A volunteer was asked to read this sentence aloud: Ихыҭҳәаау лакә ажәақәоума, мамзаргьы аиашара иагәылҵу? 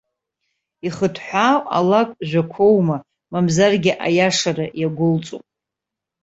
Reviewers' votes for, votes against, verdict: 2, 0, accepted